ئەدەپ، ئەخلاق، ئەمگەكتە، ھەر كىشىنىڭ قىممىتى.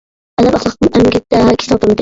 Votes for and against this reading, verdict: 0, 2, rejected